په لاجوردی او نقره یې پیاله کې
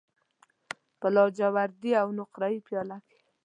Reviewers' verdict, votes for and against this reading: accepted, 3, 0